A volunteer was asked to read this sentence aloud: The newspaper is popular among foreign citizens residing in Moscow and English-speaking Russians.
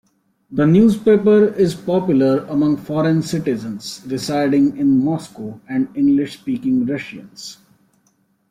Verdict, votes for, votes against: rejected, 1, 2